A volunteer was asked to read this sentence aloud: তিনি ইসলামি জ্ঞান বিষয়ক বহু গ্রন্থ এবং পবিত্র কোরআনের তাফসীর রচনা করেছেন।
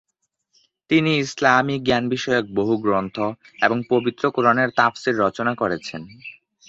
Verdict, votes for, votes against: accepted, 2, 0